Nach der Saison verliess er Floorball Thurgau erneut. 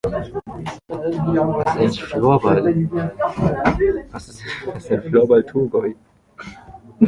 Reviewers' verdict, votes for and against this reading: rejected, 0, 2